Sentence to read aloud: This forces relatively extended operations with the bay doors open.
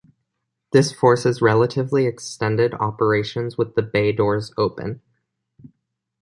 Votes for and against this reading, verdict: 2, 0, accepted